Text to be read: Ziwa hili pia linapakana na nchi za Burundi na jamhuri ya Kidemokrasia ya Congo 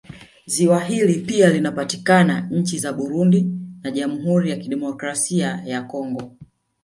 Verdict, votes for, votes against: rejected, 0, 2